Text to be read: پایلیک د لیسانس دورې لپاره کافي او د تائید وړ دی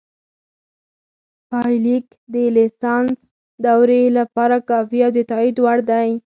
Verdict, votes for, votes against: rejected, 2, 4